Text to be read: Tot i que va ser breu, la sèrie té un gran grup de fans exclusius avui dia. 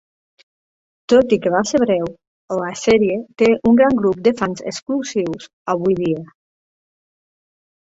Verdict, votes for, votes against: accepted, 2, 1